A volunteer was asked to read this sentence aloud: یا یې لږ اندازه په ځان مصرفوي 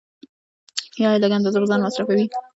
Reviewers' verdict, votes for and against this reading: rejected, 0, 2